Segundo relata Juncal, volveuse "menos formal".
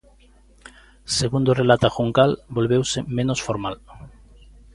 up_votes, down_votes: 2, 0